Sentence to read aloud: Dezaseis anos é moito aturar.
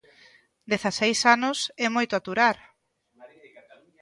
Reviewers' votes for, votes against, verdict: 2, 0, accepted